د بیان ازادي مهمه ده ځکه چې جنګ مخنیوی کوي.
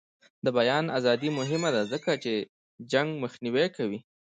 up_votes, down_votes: 2, 0